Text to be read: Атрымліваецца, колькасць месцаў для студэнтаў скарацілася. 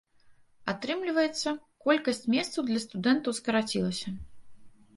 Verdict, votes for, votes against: accepted, 2, 1